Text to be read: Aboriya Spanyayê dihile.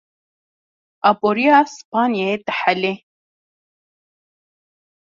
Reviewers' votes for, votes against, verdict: 2, 1, accepted